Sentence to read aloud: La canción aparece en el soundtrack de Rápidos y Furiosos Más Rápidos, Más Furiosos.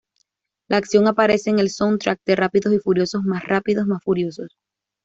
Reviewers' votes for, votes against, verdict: 1, 2, rejected